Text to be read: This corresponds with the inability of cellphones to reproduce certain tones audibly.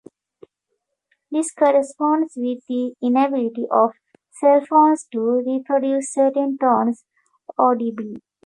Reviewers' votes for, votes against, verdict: 2, 0, accepted